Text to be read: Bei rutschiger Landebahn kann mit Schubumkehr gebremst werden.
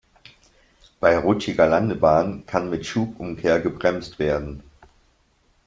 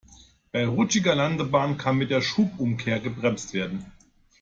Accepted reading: first